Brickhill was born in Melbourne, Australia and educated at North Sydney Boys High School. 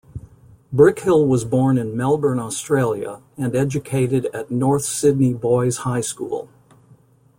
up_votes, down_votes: 2, 0